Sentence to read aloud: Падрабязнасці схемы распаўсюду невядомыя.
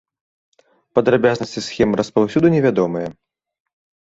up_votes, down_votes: 2, 0